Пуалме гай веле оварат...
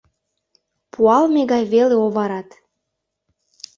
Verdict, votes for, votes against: accepted, 2, 0